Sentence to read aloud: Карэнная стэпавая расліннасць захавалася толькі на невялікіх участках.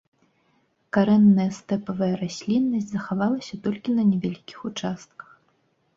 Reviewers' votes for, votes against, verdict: 2, 0, accepted